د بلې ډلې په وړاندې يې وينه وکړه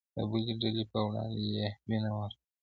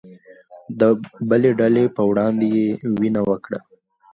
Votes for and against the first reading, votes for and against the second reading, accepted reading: 1, 2, 2, 0, second